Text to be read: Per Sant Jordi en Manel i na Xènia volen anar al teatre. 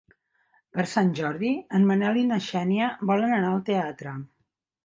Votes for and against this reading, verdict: 3, 0, accepted